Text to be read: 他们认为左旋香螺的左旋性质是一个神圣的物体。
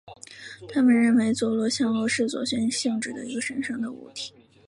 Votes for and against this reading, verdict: 1, 2, rejected